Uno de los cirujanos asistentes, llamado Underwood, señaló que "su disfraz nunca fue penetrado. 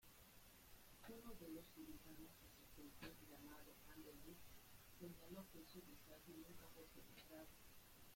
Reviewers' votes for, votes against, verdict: 0, 2, rejected